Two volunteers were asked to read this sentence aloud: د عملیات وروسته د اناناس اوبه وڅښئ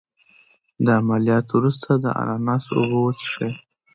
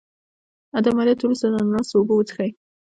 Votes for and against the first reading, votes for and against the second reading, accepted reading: 2, 0, 1, 2, first